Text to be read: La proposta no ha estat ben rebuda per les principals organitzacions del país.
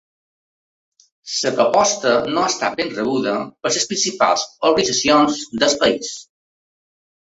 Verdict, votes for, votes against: accepted, 2, 0